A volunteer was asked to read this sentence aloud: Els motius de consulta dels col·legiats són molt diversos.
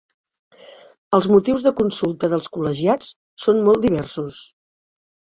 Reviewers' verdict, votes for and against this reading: accepted, 3, 0